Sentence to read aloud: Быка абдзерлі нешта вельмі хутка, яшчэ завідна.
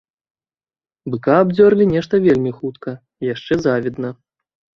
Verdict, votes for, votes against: rejected, 1, 2